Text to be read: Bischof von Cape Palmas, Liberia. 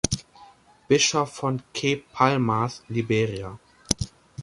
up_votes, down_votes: 1, 2